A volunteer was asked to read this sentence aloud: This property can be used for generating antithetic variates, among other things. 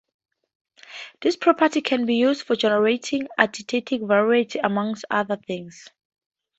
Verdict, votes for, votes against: rejected, 2, 2